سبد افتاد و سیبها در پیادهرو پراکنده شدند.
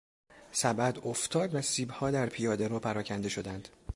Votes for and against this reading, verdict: 2, 0, accepted